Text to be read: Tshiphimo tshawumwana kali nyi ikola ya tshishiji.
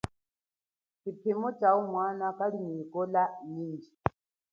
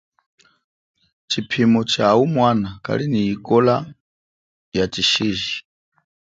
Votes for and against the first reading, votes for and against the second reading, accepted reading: 1, 2, 2, 0, second